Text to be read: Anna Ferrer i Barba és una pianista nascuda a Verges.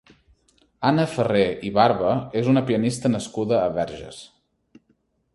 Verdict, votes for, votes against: accepted, 4, 0